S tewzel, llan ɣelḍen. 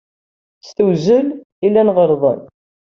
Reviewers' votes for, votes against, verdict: 2, 0, accepted